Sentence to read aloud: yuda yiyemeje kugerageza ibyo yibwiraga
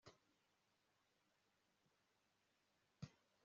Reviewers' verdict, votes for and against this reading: rejected, 0, 2